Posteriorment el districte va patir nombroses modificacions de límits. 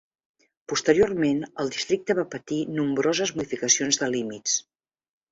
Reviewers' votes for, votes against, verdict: 0, 2, rejected